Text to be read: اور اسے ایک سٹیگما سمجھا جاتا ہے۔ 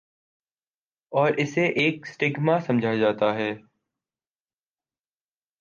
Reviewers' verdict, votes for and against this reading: accepted, 2, 1